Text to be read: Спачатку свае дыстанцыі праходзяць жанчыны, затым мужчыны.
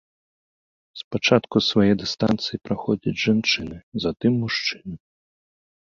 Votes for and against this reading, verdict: 2, 0, accepted